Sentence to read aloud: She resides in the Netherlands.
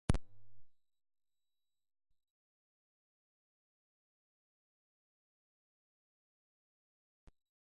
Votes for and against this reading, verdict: 0, 2, rejected